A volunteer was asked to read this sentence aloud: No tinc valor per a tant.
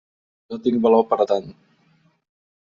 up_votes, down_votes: 2, 0